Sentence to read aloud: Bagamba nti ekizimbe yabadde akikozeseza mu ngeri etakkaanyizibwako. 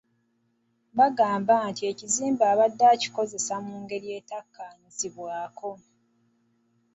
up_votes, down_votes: 2, 1